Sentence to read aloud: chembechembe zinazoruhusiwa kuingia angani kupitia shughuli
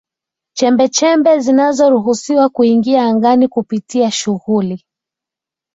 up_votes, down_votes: 2, 0